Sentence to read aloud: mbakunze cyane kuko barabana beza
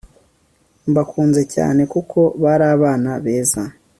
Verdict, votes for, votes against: accepted, 2, 0